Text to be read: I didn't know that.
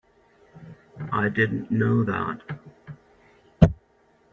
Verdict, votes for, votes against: accepted, 2, 0